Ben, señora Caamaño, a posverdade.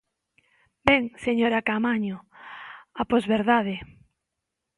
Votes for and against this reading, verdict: 2, 0, accepted